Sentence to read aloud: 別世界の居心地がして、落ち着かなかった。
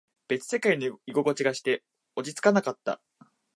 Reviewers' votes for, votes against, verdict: 2, 0, accepted